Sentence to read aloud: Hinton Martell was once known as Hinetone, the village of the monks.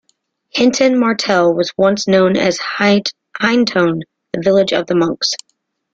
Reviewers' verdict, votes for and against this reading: rejected, 0, 2